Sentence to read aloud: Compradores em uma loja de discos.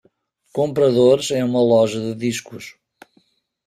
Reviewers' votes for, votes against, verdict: 1, 2, rejected